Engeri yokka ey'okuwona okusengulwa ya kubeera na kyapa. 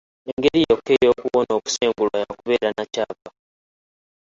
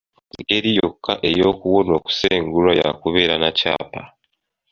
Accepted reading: second